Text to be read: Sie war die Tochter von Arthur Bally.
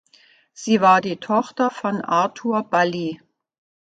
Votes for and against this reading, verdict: 1, 2, rejected